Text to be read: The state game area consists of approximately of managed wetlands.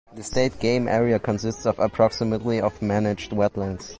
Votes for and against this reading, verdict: 2, 0, accepted